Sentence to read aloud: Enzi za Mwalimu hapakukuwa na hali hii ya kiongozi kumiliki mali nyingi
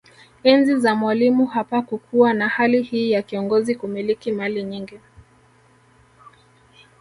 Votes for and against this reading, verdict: 2, 3, rejected